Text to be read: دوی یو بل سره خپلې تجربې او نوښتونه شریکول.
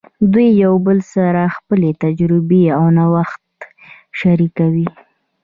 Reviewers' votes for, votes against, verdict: 2, 0, accepted